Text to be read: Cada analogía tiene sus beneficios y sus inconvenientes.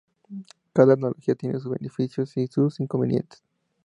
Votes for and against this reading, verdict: 2, 0, accepted